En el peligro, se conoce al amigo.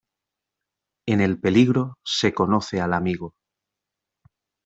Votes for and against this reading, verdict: 2, 0, accepted